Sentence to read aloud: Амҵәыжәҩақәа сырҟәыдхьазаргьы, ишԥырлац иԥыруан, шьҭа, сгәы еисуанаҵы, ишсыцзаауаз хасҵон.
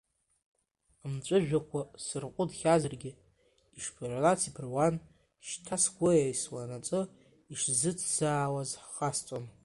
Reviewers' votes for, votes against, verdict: 0, 2, rejected